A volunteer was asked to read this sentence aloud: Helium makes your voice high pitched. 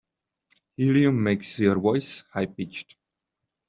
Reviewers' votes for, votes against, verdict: 2, 0, accepted